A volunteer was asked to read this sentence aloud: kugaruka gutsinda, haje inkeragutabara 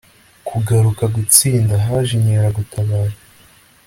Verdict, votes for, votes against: accepted, 2, 0